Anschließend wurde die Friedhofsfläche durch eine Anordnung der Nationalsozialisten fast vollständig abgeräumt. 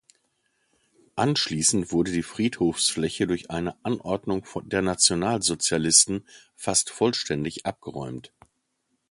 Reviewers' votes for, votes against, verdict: 0, 2, rejected